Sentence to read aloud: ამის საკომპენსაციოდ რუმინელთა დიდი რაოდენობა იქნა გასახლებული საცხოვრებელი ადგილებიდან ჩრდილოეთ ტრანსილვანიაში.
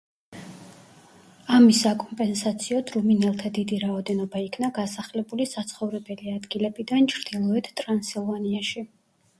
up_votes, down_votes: 2, 0